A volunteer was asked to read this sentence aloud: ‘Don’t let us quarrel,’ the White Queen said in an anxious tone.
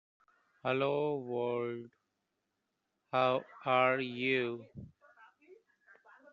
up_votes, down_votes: 0, 2